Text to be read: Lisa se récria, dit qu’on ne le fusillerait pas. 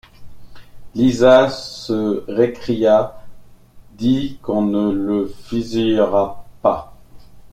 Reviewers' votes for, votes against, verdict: 0, 2, rejected